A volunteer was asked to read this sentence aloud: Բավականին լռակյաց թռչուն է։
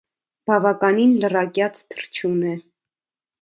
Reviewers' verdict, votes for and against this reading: accepted, 2, 0